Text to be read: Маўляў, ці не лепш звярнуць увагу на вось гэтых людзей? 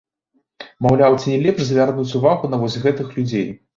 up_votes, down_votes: 2, 0